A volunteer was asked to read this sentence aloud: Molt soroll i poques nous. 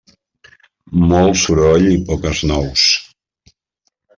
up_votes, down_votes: 3, 0